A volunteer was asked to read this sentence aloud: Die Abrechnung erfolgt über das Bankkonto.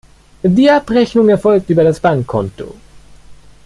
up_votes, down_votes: 1, 2